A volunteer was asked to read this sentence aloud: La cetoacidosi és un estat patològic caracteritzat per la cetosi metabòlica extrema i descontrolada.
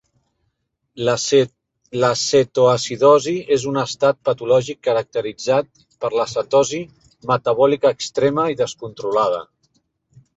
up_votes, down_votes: 1, 2